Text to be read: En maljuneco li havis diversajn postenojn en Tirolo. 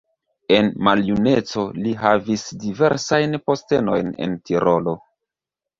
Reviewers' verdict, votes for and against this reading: rejected, 0, 2